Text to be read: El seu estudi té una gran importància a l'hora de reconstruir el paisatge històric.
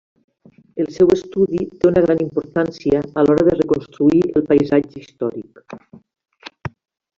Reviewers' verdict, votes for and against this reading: rejected, 0, 2